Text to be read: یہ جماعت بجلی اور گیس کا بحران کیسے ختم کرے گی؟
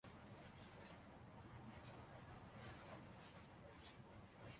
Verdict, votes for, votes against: rejected, 0, 2